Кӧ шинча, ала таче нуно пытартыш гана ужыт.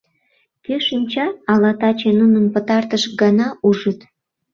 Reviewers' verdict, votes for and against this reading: rejected, 0, 2